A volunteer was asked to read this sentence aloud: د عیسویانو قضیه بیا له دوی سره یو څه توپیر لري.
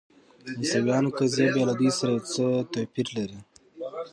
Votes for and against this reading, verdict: 0, 2, rejected